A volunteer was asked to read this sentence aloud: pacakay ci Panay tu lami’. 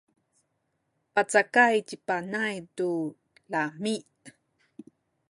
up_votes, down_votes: 1, 2